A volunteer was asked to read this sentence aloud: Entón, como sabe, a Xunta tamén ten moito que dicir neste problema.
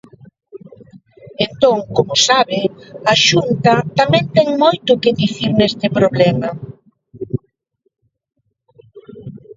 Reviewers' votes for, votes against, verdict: 0, 3, rejected